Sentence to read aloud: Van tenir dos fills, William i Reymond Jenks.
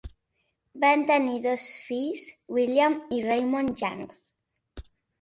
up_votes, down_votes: 1, 2